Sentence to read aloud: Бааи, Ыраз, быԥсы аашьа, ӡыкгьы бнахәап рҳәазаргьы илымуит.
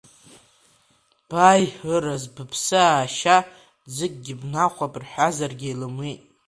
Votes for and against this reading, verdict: 0, 2, rejected